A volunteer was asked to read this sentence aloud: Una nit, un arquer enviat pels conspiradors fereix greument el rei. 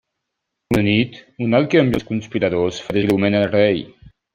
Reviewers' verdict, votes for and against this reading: rejected, 0, 3